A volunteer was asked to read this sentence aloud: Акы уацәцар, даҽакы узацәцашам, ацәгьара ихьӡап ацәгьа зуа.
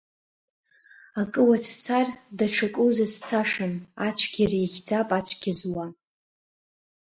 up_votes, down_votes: 2, 1